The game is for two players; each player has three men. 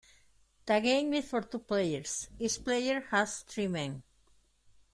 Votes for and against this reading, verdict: 2, 0, accepted